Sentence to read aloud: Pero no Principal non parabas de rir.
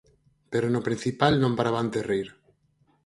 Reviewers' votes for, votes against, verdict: 2, 4, rejected